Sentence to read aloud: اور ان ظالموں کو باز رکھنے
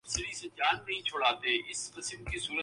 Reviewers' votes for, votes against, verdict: 0, 2, rejected